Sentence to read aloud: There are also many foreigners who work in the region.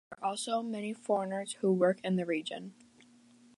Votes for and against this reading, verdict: 1, 2, rejected